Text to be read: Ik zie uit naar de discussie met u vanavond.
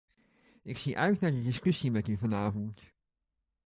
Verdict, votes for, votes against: accepted, 2, 0